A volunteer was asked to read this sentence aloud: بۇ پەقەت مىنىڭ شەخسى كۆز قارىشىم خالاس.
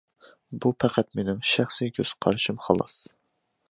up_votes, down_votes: 2, 0